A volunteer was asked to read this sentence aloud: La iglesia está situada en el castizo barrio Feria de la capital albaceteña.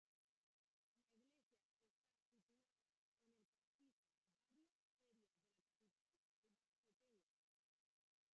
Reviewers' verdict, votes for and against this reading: rejected, 0, 2